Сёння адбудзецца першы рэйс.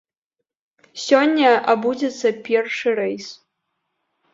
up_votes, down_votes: 0, 2